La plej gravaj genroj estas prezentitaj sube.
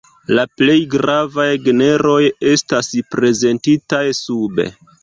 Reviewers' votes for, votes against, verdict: 0, 2, rejected